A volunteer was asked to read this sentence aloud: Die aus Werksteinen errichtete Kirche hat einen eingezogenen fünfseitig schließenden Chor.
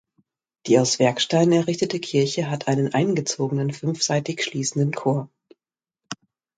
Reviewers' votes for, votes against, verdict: 2, 1, accepted